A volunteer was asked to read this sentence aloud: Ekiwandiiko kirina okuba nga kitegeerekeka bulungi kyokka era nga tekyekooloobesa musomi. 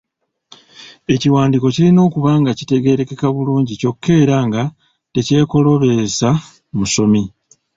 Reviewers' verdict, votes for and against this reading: accepted, 3, 0